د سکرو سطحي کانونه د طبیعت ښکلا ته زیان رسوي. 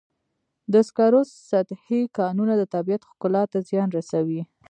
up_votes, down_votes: 1, 2